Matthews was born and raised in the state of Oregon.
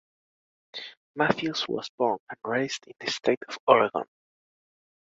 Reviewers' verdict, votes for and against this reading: rejected, 0, 2